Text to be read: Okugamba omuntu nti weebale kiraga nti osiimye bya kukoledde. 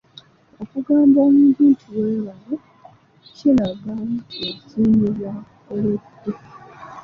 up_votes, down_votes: 2, 0